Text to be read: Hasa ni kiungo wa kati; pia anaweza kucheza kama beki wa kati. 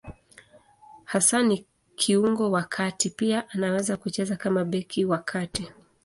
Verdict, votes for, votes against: rejected, 1, 2